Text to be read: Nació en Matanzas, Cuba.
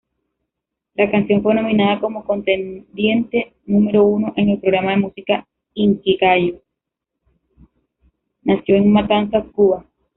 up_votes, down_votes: 0, 2